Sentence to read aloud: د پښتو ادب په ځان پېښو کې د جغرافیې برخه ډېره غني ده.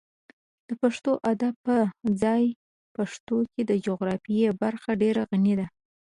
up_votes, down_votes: 1, 2